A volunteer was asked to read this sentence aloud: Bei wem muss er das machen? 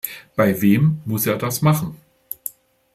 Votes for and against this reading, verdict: 2, 0, accepted